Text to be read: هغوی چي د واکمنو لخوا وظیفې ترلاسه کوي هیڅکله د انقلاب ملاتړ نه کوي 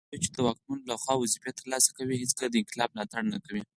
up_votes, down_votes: 4, 0